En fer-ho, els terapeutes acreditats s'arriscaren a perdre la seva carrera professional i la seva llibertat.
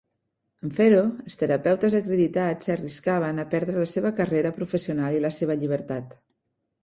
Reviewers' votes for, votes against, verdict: 1, 2, rejected